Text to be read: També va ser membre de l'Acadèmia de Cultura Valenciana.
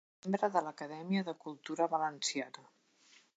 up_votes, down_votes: 0, 2